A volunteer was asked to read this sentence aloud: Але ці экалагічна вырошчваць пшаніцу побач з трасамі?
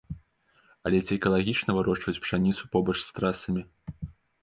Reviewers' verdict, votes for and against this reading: accepted, 3, 0